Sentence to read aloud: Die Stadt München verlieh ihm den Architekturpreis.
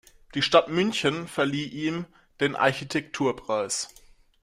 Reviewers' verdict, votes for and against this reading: accepted, 2, 0